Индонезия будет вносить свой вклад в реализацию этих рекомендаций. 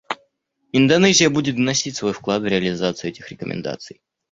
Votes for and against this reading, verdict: 0, 2, rejected